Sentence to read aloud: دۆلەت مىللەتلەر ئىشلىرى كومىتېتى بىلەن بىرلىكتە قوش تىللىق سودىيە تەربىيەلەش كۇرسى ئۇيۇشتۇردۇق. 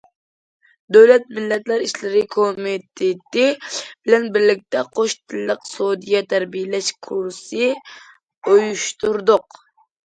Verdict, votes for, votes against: accepted, 2, 1